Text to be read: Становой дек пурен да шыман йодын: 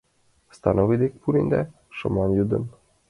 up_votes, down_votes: 2, 0